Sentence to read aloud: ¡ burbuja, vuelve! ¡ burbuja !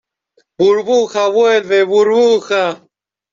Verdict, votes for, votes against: accepted, 2, 0